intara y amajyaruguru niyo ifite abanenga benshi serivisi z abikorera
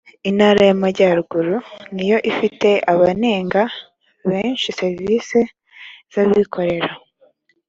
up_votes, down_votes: 3, 0